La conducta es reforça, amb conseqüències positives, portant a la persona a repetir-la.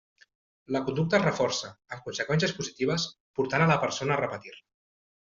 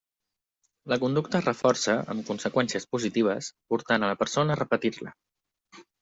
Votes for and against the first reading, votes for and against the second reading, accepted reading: 1, 2, 2, 0, second